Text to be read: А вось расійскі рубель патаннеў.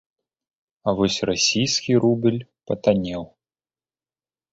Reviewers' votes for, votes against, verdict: 1, 2, rejected